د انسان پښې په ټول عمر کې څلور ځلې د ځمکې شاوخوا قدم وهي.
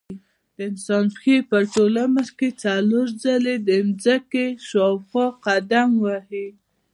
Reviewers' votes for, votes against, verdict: 2, 1, accepted